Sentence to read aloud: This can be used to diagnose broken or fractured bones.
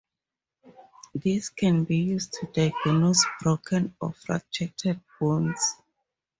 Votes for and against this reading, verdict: 0, 2, rejected